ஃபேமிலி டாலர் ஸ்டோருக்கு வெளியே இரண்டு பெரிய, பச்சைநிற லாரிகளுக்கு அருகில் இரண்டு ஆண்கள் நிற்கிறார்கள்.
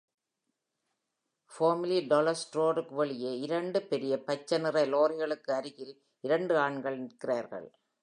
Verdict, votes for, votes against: rejected, 1, 2